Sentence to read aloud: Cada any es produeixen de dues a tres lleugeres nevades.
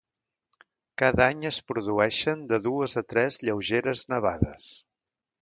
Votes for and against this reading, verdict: 2, 0, accepted